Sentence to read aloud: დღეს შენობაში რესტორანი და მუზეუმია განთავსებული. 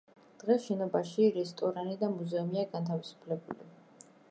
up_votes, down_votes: 0, 2